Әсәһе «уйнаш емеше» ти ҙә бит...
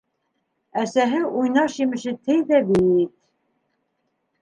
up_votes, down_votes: 0, 2